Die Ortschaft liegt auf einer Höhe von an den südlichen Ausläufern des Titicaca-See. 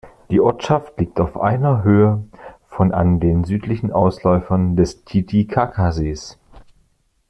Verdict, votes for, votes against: rejected, 1, 2